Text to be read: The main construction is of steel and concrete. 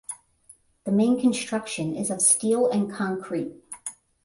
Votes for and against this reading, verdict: 10, 0, accepted